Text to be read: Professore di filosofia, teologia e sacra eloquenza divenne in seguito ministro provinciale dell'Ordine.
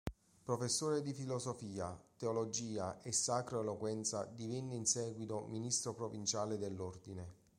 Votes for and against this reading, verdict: 3, 0, accepted